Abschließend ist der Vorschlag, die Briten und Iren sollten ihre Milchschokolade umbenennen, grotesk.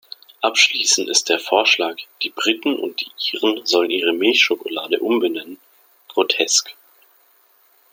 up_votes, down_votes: 1, 2